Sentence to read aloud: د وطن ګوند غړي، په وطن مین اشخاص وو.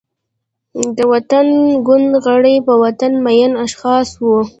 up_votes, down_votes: 0, 2